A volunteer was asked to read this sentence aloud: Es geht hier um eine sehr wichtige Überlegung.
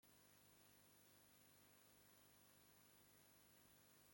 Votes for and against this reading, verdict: 0, 2, rejected